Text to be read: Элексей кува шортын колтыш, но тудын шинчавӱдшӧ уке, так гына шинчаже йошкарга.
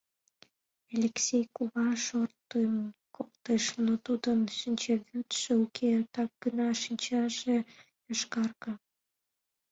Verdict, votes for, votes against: accepted, 2, 0